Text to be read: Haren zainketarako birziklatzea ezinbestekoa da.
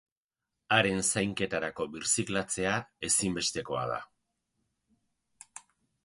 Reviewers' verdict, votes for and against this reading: accepted, 10, 0